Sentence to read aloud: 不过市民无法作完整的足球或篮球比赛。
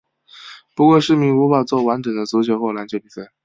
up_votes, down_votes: 2, 0